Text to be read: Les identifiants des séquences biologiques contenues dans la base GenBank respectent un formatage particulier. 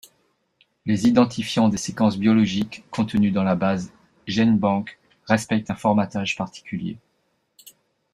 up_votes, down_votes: 1, 2